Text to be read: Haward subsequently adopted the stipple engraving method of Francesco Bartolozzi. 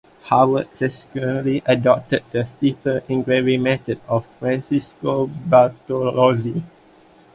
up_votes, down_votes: 2, 1